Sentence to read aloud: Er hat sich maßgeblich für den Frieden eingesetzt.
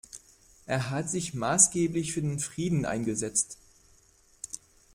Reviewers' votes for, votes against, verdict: 2, 0, accepted